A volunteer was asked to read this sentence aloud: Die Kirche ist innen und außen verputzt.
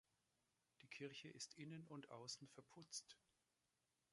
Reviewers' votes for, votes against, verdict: 2, 0, accepted